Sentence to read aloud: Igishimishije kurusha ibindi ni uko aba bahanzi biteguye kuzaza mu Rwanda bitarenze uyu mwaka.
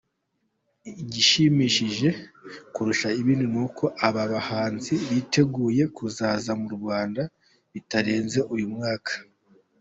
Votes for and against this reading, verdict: 2, 0, accepted